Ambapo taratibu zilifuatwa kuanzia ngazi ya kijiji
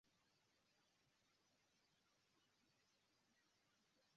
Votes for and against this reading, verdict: 1, 2, rejected